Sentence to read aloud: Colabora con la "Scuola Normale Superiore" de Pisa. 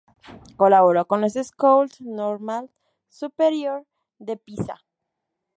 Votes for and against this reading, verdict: 0, 2, rejected